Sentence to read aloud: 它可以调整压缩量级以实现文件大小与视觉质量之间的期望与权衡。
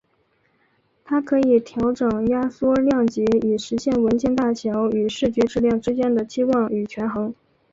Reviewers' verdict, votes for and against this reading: accepted, 2, 0